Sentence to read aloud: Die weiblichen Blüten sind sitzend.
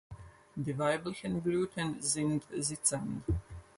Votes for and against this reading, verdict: 2, 4, rejected